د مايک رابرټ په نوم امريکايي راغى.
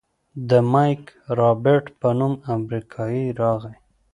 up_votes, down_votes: 2, 0